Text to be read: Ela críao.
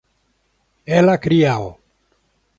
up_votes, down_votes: 1, 2